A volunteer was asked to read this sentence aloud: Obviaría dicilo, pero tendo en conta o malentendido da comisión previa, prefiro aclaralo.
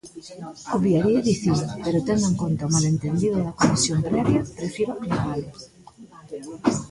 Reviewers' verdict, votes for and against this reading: rejected, 0, 2